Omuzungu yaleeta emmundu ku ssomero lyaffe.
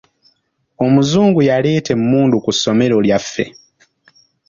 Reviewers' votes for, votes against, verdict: 3, 0, accepted